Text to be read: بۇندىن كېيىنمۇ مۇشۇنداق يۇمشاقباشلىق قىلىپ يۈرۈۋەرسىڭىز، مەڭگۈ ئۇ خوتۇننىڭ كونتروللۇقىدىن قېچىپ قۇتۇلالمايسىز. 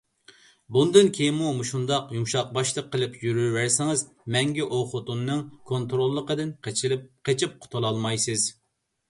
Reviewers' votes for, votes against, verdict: 0, 2, rejected